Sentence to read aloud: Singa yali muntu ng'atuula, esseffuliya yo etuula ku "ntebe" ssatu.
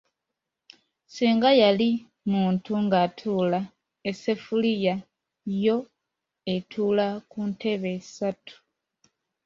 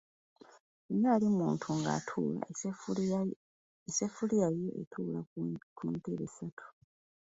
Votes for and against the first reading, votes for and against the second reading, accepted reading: 2, 0, 0, 2, first